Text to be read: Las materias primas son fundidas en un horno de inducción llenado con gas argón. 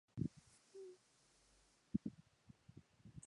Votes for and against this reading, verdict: 0, 2, rejected